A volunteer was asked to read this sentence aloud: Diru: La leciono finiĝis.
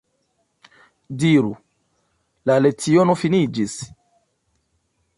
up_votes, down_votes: 2, 0